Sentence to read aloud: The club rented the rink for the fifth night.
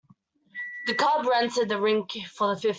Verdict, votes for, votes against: rejected, 0, 2